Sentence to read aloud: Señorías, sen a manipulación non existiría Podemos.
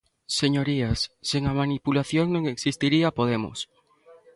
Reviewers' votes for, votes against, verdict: 2, 0, accepted